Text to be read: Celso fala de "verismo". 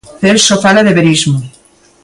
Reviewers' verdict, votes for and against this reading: accepted, 2, 0